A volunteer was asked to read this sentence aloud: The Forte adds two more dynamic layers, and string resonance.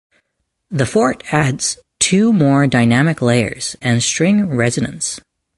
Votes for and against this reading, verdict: 2, 1, accepted